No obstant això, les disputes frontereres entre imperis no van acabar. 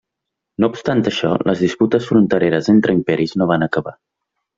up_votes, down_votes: 3, 0